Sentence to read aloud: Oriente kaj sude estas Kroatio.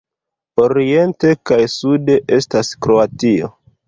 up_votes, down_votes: 2, 1